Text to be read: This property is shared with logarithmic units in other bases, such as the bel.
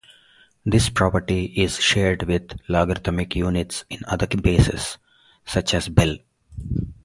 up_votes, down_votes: 2, 4